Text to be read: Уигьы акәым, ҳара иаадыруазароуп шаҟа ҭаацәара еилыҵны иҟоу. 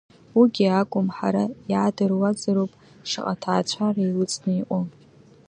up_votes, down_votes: 2, 1